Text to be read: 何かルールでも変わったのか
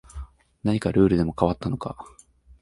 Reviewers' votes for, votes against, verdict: 2, 0, accepted